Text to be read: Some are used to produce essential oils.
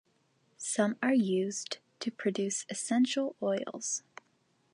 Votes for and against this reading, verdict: 2, 0, accepted